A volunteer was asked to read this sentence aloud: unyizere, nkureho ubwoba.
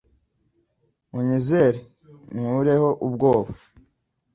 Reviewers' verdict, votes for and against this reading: accepted, 2, 0